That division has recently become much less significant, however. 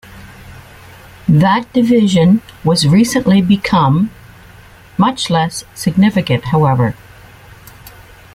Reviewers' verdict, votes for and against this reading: rejected, 1, 2